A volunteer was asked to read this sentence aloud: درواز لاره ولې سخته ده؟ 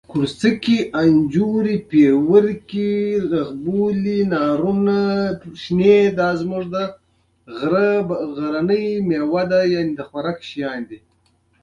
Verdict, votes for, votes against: rejected, 1, 2